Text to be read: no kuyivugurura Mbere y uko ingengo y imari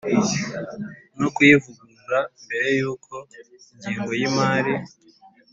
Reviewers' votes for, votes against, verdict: 2, 0, accepted